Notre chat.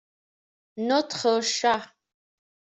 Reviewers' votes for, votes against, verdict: 2, 0, accepted